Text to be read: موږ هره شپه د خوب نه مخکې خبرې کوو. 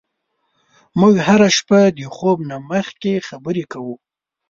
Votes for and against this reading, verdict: 2, 0, accepted